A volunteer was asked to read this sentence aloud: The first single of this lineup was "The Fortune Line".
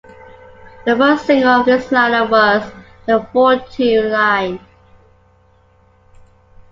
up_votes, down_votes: 2, 0